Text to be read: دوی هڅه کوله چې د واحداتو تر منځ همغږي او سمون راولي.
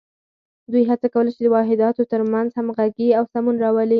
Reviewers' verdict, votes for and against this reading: accepted, 4, 0